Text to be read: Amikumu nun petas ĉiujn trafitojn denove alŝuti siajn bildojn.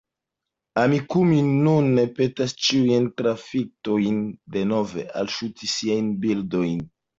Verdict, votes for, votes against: accepted, 2, 0